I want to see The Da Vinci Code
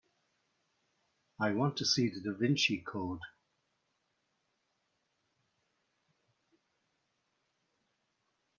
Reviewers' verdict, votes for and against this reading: accepted, 4, 0